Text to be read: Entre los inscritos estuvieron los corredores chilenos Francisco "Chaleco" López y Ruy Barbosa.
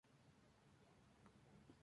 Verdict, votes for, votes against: rejected, 0, 2